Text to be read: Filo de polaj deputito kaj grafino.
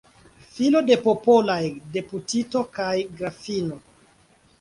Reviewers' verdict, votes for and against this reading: rejected, 0, 2